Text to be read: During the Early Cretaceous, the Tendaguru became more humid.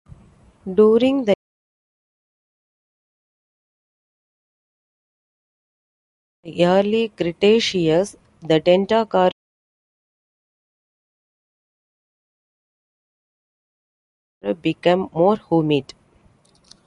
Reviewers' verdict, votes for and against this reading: rejected, 0, 2